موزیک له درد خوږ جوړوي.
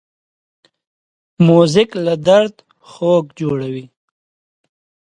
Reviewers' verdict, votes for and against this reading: accepted, 2, 0